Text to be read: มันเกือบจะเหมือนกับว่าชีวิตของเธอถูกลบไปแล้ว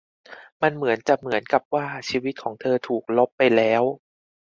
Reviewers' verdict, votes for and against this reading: rejected, 0, 2